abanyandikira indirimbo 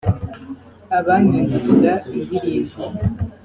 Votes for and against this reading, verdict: 3, 0, accepted